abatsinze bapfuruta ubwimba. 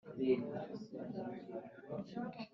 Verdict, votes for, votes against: rejected, 1, 2